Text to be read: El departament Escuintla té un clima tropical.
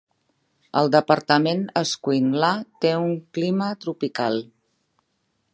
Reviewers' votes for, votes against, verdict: 2, 1, accepted